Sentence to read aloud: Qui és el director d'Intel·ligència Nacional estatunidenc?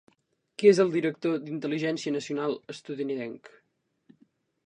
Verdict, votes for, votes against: rejected, 1, 2